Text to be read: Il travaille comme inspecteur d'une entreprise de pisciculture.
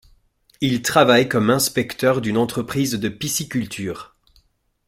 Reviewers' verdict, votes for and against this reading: accepted, 2, 0